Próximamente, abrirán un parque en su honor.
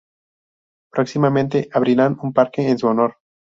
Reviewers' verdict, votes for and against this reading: rejected, 0, 2